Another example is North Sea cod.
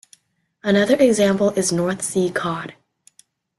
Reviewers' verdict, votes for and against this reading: accepted, 2, 0